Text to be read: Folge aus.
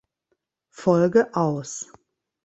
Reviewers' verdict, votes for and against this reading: accepted, 2, 0